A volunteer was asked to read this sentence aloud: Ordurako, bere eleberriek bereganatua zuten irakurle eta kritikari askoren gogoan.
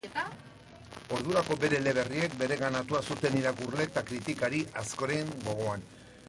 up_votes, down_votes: 1, 2